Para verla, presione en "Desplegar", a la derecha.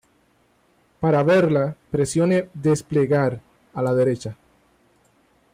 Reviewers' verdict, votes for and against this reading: rejected, 0, 2